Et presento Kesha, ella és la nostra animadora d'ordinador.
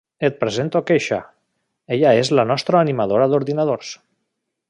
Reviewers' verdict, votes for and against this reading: accepted, 2, 1